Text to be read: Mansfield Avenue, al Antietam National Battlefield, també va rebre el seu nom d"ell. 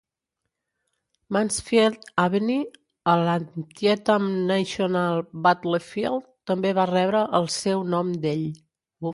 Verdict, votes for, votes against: rejected, 1, 2